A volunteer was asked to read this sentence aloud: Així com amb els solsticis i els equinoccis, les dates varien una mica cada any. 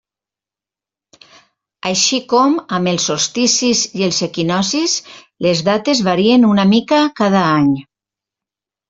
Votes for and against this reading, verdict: 2, 1, accepted